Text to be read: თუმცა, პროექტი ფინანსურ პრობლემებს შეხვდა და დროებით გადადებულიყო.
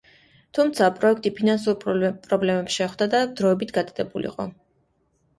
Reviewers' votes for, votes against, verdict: 2, 1, accepted